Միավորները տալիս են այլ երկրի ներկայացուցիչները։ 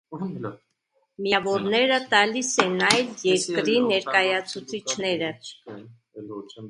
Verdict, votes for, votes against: rejected, 0, 2